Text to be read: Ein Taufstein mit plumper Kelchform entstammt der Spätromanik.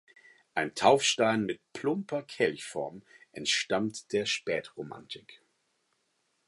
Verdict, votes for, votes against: rejected, 2, 4